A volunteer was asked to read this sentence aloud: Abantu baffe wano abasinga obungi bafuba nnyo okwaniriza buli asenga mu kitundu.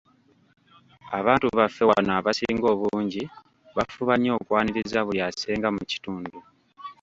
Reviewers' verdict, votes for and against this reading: rejected, 1, 2